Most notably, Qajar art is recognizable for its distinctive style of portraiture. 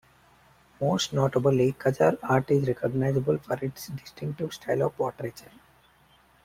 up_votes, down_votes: 2, 1